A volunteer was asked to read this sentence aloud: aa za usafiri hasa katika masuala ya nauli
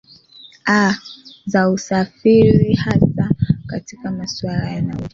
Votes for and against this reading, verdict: 2, 0, accepted